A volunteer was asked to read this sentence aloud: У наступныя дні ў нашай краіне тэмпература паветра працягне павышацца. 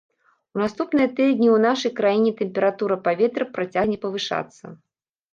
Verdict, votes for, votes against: rejected, 1, 3